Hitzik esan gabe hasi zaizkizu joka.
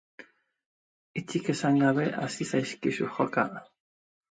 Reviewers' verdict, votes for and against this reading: accepted, 2, 0